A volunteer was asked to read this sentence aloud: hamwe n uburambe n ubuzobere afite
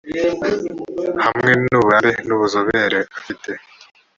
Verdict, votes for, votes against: accepted, 2, 0